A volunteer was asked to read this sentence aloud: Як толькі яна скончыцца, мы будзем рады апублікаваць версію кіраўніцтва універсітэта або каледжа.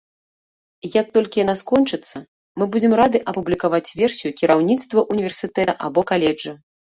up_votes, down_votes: 1, 2